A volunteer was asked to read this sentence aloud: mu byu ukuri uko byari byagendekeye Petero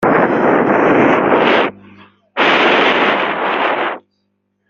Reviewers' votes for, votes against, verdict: 0, 3, rejected